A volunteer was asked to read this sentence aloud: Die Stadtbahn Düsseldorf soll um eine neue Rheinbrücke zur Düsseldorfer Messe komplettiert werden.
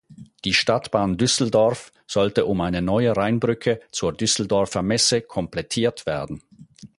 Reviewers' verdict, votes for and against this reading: rejected, 0, 4